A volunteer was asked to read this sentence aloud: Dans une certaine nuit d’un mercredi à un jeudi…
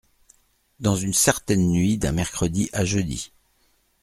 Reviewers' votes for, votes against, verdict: 1, 2, rejected